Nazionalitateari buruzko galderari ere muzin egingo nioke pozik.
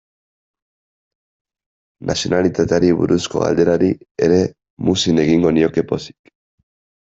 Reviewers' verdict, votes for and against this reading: accepted, 2, 0